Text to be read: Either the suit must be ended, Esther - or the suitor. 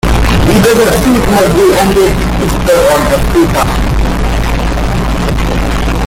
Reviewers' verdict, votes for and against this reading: rejected, 0, 3